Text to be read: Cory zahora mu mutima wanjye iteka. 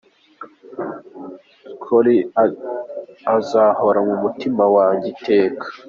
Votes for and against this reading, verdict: 1, 2, rejected